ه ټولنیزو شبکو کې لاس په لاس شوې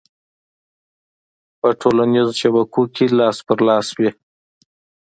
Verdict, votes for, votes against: accepted, 2, 1